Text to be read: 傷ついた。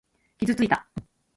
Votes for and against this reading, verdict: 1, 2, rejected